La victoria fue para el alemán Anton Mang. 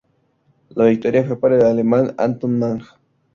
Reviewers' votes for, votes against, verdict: 2, 0, accepted